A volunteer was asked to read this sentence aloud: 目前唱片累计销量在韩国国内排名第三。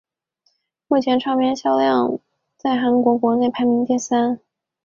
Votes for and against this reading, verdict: 0, 2, rejected